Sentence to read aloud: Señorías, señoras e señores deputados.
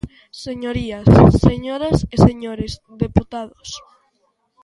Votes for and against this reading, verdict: 2, 1, accepted